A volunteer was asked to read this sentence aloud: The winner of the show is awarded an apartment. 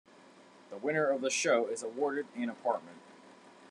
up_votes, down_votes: 1, 2